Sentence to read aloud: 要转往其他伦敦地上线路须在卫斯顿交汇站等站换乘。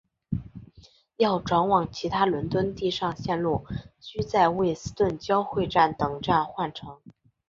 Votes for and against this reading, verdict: 5, 0, accepted